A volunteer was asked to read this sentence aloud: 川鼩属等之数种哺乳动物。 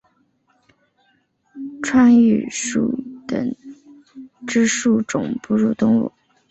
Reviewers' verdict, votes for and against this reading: accepted, 2, 0